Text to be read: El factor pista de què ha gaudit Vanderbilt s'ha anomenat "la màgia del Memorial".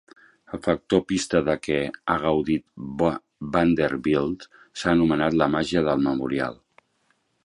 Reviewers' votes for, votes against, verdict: 0, 2, rejected